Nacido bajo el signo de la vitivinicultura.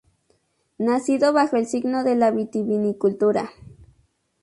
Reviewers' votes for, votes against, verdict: 2, 2, rejected